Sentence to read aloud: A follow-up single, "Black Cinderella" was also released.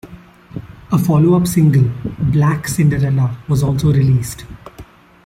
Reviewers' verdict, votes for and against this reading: accepted, 2, 0